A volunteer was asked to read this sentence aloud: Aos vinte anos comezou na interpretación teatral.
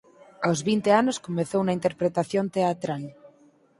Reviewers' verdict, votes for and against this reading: accepted, 4, 0